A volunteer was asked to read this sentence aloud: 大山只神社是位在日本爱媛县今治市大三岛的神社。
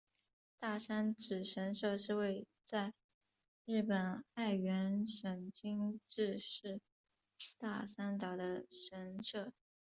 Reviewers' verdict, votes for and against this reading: accepted, 2, 0